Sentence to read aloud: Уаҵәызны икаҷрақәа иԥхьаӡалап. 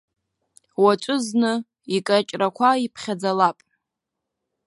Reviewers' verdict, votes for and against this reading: rejected, 1, 2